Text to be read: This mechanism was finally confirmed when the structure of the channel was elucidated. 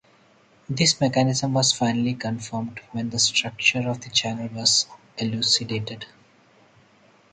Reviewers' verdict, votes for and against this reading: rejected, 2, 2